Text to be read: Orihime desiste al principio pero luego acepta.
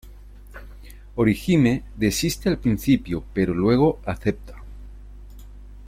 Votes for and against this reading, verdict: 2, 0, accepted